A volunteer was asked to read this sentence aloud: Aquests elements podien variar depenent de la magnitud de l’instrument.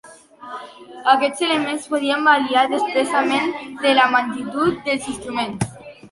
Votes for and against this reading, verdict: 1, 2, rejected